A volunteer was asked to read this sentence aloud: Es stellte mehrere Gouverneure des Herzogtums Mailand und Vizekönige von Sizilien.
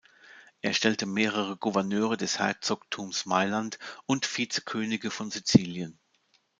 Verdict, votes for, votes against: accepted, 2, 0